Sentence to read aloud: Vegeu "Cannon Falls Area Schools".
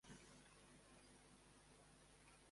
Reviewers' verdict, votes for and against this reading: rejected, 0, 2